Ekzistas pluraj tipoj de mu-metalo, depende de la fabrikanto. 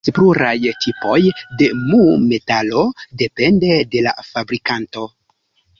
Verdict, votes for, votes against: rejected, 1, 2